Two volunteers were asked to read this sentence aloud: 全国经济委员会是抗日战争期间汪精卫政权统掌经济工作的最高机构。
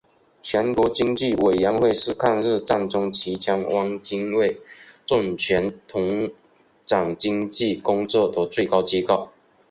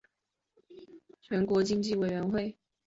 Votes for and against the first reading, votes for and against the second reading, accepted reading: 3, 1, 0, 3, first